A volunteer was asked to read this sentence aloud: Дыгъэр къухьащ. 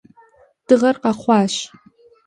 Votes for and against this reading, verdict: 0, 2, rejected